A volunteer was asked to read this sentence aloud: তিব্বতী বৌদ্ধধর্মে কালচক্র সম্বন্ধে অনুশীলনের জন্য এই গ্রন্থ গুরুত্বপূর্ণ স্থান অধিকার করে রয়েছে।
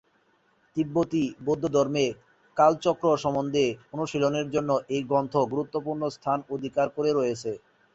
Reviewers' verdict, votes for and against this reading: accepted, 2, 0